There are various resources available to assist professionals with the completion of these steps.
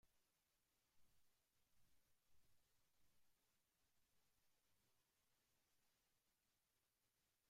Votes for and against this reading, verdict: 1, 2, rejected